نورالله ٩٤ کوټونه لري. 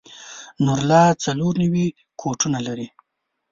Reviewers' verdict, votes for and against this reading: rejected, 0, 2